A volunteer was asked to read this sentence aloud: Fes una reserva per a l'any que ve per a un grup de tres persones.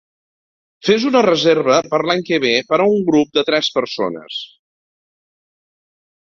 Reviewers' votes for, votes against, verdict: 0, 2, rejected